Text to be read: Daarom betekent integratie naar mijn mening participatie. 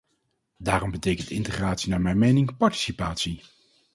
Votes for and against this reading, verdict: 2, 0, accepted